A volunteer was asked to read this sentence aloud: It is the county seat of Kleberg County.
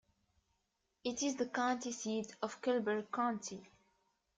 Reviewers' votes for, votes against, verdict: 2, 0, accepted